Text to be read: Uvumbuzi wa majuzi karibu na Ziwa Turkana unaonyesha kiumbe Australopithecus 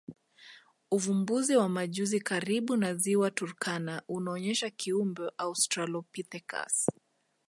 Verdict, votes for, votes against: accepted, 2, 0